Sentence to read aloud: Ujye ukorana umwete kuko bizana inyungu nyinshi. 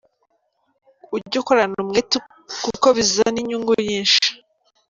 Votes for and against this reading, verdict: 3, 0, accepted